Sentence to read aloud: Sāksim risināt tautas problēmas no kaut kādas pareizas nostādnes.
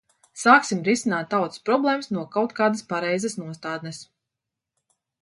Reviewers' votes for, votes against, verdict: 2, 0, accepted